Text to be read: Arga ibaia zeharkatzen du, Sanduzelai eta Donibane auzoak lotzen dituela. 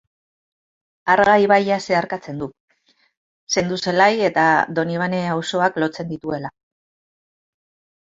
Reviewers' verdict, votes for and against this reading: rejected, 0, 2